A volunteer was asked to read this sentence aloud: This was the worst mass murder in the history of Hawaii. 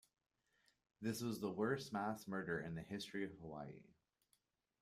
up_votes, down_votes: 2, 1